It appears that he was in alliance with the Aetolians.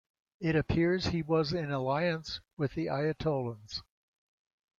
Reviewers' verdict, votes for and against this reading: rejected, 0, 2